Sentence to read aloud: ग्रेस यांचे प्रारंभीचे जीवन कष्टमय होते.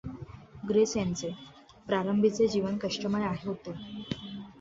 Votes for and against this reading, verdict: 1, 2, rejected